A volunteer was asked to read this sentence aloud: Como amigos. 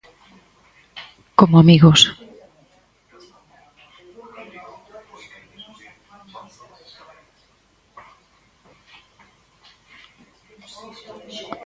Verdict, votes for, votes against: rejected, 2, 4